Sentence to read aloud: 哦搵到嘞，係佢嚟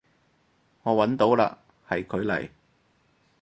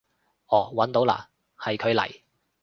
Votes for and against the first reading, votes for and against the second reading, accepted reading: 2, 4, 2, 0, second